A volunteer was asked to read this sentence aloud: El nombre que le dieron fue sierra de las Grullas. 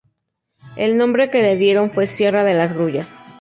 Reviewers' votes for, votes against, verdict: 2, 0, accepted